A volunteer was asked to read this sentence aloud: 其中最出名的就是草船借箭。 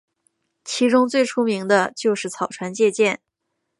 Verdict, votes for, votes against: accepted, 2, 0